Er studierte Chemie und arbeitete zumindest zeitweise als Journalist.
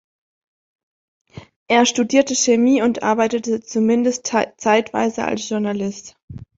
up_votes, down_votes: 0, 2